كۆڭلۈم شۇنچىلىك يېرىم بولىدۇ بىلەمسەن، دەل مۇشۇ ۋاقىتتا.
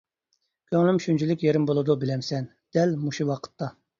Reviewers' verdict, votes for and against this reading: accepted, 2, 0